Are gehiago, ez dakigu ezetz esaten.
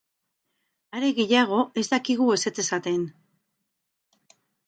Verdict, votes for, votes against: accepted, 4, 0